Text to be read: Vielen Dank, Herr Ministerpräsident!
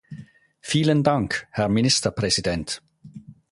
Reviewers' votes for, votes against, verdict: 4, 0, accepted